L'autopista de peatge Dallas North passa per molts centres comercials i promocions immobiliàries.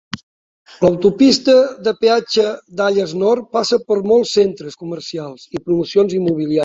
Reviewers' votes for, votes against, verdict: 1, 2, rejected